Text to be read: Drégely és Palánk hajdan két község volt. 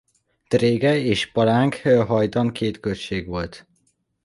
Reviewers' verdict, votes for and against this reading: accepted, 2, 1